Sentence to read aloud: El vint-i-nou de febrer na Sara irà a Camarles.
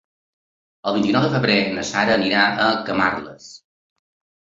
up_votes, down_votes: 1, 2